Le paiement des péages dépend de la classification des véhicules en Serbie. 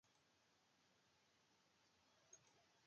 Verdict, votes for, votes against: rejected, 0, 2